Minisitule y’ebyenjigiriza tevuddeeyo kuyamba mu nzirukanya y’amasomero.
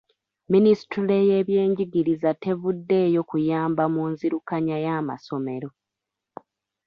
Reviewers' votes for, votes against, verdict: 2, 0, accepted